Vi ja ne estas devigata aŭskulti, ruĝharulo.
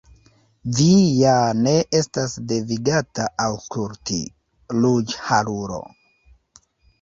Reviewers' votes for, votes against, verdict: 1, 2, rejected